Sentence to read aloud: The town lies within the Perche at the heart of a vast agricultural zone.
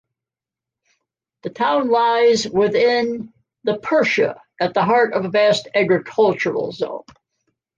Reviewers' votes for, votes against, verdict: 1, 2, rejected